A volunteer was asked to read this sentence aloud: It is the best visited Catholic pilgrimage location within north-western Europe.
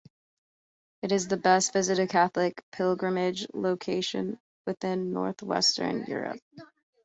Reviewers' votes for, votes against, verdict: 2, 0, accepted